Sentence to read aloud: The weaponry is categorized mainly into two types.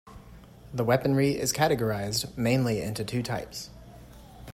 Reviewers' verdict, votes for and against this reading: accepted, 2, 0